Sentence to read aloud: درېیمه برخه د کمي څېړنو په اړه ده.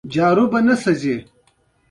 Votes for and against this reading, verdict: 2, 1, accepted